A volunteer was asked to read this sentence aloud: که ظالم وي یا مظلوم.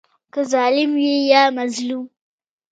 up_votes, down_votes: 2, 1